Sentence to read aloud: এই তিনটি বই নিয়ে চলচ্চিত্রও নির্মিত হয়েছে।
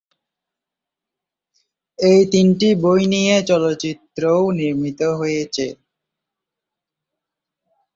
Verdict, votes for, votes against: accepted, 13, 4